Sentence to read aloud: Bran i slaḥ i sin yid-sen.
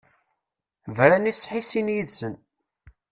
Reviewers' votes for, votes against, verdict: 1, 2, rejected